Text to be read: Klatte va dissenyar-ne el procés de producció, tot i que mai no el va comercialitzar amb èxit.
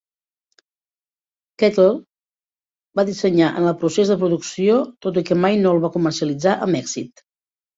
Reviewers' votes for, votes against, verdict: 0, 2, rejected